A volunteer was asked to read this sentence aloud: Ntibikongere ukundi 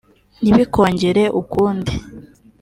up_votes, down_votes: 2, 0